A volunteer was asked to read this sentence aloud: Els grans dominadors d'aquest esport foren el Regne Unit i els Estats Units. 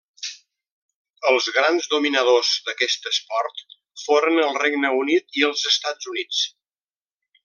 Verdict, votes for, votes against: accepted, 3, 0